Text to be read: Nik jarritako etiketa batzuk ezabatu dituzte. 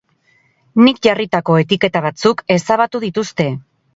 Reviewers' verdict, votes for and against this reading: accepted, 6, 0